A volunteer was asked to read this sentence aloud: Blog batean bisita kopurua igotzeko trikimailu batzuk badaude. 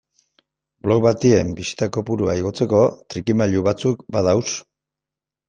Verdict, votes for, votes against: rejected, 0, 2